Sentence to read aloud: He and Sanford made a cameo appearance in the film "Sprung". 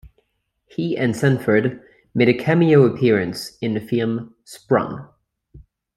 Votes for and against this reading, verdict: 2, 0, accepted